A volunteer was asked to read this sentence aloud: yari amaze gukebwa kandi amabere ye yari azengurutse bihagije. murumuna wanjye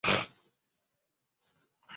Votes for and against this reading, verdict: 0, 2, rejected